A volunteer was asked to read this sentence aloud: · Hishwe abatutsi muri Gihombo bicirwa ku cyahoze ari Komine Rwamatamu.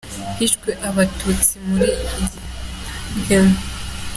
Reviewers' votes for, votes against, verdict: 0, 2, rejected